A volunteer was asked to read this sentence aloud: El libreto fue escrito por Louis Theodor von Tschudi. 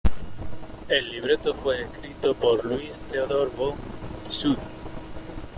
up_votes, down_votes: 1, 3